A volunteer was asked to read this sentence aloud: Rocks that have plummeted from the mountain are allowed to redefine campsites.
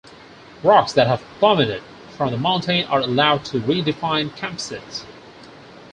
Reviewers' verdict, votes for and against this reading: accepted, 4, 2